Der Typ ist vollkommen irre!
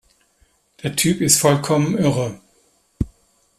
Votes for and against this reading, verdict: 2, 0, accepted